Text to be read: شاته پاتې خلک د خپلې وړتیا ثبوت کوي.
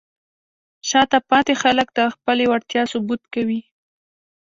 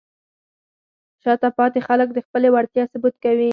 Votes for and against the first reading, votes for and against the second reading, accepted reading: 1, 2, 4, 0, second